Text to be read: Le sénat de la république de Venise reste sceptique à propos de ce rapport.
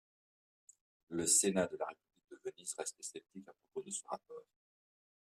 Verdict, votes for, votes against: rejected, 1, 2